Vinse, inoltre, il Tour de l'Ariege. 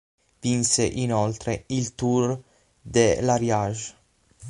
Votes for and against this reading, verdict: 0, 6, rejected